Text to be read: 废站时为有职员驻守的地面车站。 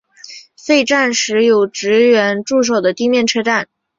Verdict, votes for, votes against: accepted, 6, 0